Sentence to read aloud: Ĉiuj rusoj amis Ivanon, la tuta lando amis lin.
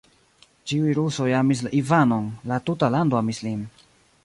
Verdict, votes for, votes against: rejected, 1, 2